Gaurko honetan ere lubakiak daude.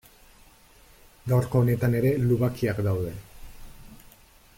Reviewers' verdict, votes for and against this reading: accepted, 2, 0